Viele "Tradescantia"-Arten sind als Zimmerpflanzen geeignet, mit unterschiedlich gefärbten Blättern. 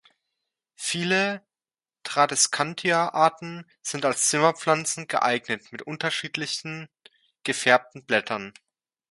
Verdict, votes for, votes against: rejected, 0, 2